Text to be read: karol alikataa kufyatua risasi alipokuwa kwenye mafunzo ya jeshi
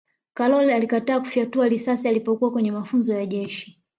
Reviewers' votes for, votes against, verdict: 2, 0, accepted